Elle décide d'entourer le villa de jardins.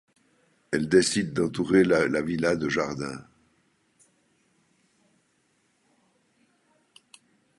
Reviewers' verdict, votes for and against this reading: rejected, 1, 2